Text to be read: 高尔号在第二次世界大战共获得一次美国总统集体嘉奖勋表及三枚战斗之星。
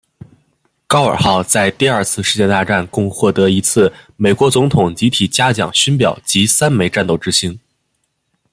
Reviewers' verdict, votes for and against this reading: accepted, 2, 0